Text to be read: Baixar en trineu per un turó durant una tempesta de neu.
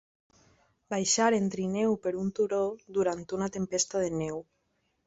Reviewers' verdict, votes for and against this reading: accepted, 3, 0